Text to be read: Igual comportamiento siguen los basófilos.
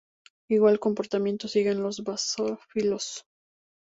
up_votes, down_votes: 0, 2